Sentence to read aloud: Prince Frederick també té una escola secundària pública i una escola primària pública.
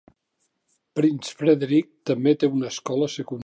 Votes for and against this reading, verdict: 0, 2, rejected